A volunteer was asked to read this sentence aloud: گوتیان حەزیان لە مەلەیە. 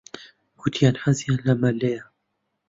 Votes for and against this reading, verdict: 1, 2, rejected